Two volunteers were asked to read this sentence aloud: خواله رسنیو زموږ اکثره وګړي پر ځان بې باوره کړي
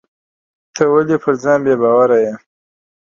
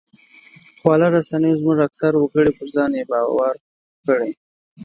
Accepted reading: second